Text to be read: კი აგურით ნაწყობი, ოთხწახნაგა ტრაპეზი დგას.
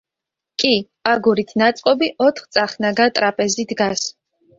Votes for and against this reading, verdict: 2, 0, accepted